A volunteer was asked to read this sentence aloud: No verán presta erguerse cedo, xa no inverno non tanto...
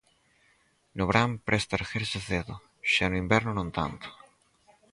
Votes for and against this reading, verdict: 0, 4, rejected